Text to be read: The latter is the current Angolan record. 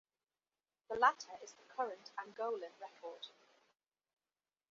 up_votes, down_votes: 2, 0